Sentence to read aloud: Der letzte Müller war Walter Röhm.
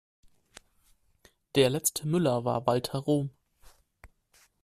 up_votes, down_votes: 0, 2